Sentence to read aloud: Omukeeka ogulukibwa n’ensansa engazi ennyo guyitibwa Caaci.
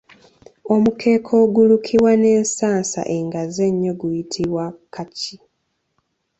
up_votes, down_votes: 1, 2